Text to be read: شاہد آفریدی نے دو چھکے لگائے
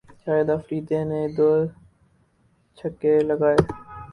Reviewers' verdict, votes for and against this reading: accepted, 18, 2